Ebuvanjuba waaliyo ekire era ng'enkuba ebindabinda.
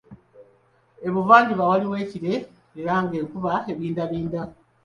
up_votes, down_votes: 2, 0